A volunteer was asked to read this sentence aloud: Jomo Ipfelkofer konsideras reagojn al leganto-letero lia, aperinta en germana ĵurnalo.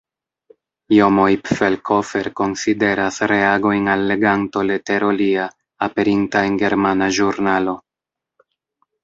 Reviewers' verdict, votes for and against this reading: accepted, 2, 0